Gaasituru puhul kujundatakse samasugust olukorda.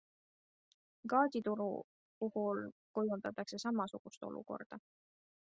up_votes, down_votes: 2, 0